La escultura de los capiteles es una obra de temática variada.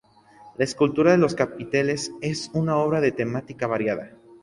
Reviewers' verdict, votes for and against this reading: accepted, 2, 0